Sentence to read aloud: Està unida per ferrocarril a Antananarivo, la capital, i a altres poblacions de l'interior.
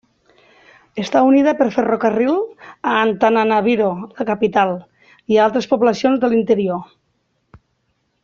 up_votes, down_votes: 2, 1